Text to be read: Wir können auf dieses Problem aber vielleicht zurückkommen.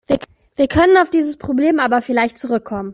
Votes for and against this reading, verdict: 1, 2, rejected